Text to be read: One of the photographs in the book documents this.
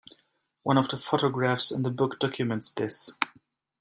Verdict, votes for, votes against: accepted, 2, 0